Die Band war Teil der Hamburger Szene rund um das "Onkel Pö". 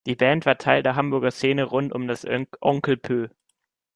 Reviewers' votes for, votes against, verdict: 0, 2, rejected